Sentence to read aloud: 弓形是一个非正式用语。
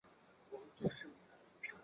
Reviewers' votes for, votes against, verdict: 2, 2, rejected